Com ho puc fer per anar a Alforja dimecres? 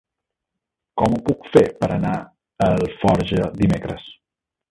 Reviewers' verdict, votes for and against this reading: accepted, 3, 1